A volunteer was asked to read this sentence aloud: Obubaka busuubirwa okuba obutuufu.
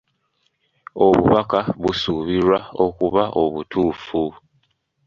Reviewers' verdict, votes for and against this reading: accepted, 2, 0